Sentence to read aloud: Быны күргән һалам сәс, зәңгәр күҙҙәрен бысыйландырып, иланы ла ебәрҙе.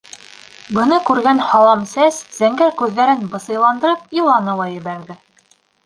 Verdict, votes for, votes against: rejected, 1, 2